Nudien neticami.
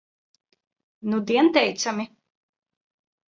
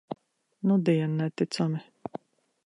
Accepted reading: second